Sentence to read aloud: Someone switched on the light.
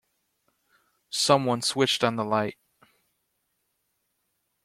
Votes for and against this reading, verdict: 2, 0, accepted